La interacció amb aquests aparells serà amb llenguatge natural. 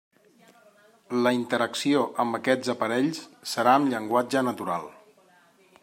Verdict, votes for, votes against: accepted, 3, 0